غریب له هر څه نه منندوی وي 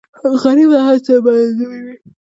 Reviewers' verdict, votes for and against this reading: rejected, 0, 2